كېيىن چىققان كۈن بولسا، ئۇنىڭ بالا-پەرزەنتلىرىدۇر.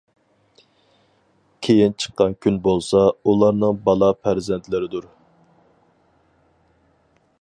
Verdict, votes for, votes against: rejected, 0, 4